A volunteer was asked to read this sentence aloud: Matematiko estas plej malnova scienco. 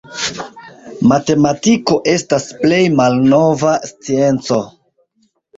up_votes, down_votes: 2, 1